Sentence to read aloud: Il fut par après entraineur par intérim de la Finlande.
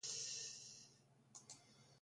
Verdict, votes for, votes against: rejected, 0, 2